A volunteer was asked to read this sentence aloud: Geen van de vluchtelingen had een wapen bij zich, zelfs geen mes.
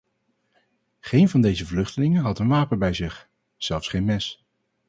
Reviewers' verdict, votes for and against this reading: rejected, 0, 2